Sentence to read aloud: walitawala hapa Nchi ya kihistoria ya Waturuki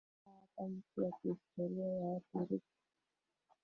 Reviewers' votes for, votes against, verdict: 1, 2, rejected